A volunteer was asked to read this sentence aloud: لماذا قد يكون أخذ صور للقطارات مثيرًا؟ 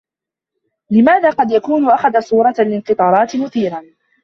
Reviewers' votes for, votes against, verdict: 0, 2, rejected